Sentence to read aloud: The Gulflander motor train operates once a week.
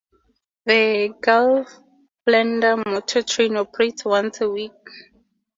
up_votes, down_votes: 2, 0